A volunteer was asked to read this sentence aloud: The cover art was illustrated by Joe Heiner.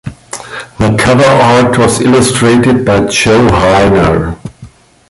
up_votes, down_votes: 2, 0